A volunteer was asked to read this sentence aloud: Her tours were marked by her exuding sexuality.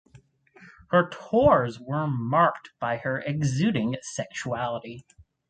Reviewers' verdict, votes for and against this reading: accepted, 4, 0